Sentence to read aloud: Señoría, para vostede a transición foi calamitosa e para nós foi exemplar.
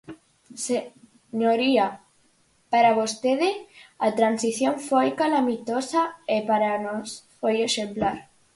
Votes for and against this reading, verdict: 0, 4, rejected